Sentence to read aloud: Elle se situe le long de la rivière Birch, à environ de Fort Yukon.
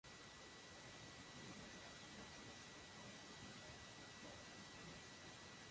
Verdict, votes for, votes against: rejected, 0, 2